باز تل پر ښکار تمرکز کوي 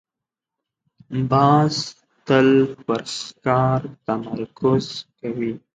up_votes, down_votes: 1, 2